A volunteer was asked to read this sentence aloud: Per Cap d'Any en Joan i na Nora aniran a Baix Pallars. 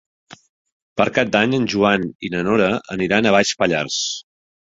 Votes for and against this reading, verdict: 4, 0, accepted